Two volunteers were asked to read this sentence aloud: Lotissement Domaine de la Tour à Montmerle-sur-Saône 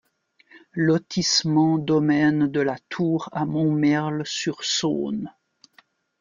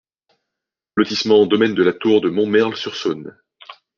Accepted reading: first